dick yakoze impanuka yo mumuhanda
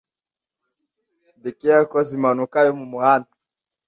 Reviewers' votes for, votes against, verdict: 2, 0, accepted